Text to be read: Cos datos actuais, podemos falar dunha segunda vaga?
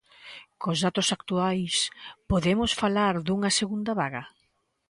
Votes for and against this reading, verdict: 3, 0, accepted